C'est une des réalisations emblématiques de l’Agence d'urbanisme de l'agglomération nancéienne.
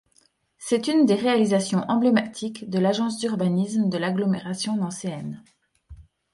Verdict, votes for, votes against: rejected, 1, 2